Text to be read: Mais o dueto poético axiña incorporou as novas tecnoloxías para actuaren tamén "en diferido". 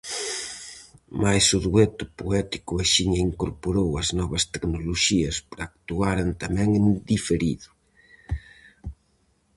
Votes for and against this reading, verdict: 4, 0, accepted